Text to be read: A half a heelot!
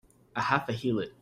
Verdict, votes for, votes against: accepted, 2, 0